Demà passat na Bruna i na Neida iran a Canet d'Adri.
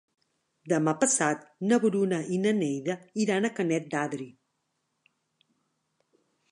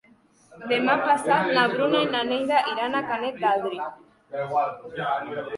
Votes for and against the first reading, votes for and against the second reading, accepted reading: 4, 0, 1, 2, first